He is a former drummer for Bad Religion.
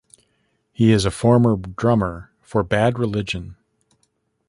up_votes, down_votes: 2, 1